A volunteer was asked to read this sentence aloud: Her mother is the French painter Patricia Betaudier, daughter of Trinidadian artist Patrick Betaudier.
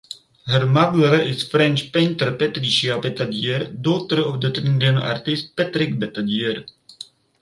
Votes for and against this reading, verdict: 2, 2, rejected